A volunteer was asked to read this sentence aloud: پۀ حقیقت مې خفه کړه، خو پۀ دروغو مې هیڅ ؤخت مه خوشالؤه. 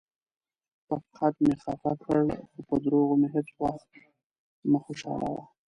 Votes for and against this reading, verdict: 2, 0, accepted